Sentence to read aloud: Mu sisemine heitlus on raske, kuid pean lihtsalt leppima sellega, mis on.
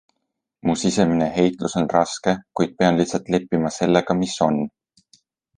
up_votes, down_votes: 2, 0